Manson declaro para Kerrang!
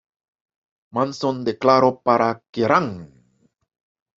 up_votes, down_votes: 0, 2